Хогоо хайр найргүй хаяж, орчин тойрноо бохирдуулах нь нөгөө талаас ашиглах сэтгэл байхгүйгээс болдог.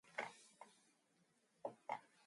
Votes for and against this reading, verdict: 0, 2, rejected